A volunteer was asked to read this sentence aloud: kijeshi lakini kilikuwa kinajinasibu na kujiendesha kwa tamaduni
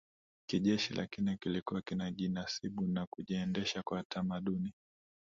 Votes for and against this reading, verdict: 2, 0, accepted